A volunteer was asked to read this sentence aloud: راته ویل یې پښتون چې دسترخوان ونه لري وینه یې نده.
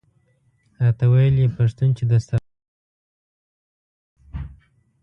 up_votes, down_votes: 0, 2